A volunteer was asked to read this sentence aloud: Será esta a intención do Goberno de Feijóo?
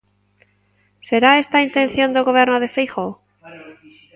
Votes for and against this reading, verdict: 0, 2, rejected